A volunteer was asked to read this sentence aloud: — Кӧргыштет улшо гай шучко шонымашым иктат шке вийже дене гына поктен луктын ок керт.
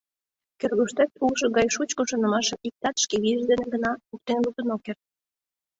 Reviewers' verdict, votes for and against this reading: accepted, 2, 0